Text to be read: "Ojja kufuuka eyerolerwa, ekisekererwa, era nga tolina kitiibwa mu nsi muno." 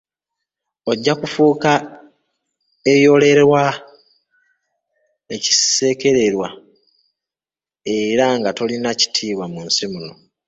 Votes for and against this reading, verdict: 0, 2, rejected